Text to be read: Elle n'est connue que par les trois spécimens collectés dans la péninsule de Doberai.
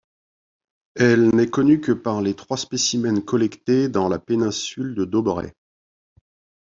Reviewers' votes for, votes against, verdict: 2, 0, accepted